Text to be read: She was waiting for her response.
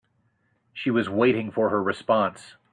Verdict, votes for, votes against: accepted, 2, 0